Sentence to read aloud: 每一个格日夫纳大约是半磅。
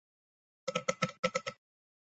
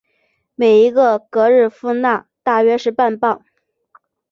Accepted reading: second